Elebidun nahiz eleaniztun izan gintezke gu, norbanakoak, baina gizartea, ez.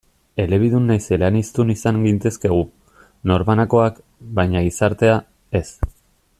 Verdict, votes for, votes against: accepted, 2, 0